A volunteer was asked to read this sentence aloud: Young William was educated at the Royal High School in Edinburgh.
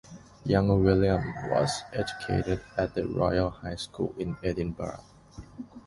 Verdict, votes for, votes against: rejected, 1, 2